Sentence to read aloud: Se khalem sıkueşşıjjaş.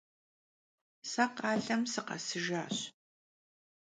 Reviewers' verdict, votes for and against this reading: rejected, 1, 2